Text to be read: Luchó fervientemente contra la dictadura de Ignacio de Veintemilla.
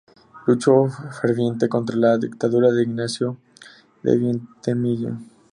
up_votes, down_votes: 0, 2